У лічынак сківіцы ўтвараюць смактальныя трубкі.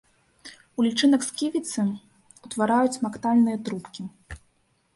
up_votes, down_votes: 3, 0